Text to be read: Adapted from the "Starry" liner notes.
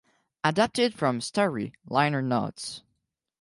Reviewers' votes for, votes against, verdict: 2, 4, rejected